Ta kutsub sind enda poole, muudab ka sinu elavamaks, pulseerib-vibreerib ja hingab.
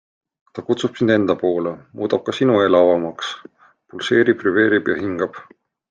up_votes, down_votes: 2, 1